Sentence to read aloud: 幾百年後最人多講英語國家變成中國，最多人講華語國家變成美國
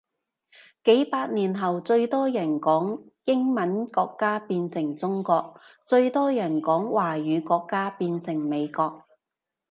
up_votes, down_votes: 1, 2